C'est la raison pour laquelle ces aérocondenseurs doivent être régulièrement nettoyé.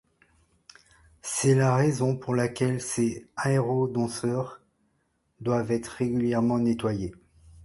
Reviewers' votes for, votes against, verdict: 1, 2, rejected